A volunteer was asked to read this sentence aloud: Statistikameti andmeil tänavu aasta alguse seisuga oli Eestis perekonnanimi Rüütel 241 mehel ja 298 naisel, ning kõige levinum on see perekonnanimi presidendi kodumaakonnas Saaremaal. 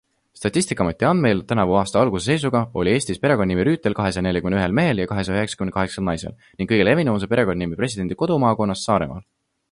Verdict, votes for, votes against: rejected, 0, 2